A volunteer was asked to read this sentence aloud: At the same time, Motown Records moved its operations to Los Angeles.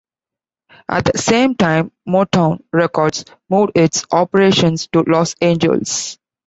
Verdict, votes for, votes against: accepted, 2, 0